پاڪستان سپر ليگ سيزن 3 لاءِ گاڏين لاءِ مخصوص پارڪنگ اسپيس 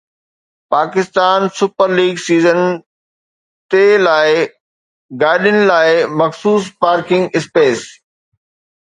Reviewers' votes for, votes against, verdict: 0, 2, rejected